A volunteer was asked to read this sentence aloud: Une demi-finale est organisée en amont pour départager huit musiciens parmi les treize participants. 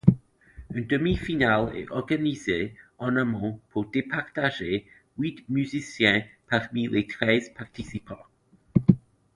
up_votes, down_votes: 2, 0